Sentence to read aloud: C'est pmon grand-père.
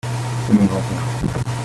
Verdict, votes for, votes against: rejected, 0, 2